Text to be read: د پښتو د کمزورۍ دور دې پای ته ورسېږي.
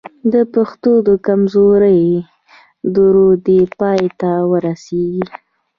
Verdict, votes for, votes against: rejected, 0, 2